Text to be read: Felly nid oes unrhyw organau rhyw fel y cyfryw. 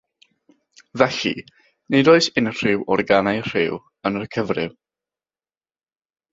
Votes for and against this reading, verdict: 0, 3, rejected